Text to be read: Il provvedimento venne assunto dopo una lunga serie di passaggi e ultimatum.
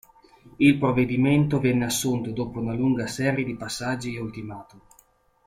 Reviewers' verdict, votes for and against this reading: accepted, 2, 0